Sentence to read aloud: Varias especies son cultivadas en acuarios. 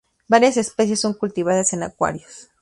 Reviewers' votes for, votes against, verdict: 2, 4, rejected